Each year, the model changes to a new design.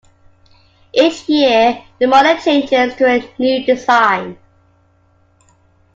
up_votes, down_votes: 2, 1